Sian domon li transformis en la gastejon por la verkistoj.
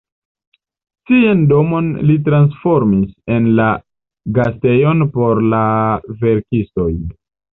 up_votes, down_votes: 4, 0